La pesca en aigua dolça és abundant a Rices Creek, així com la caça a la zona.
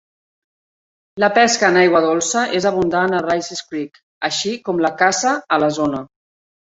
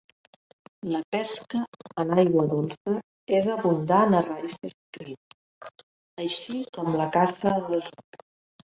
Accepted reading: first